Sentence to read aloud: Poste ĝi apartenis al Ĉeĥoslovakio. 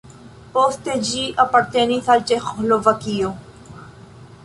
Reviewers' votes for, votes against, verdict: 1, 2, rejected